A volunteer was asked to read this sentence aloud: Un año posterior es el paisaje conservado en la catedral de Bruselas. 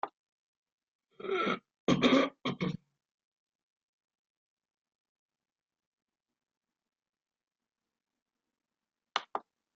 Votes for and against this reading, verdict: 0, 2, rejected